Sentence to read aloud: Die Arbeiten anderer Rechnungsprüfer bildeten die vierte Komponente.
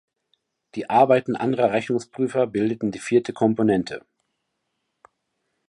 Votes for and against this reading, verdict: 2, 0, accepted